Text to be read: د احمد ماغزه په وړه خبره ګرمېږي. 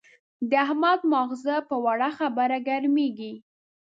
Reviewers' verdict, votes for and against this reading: accepted, 2, 0